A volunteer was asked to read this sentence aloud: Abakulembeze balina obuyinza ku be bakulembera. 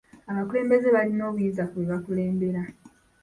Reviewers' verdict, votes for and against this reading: accepted, 3, 0